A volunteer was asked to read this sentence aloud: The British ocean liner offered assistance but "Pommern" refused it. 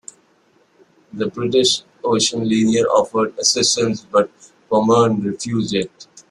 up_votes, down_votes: 0, 2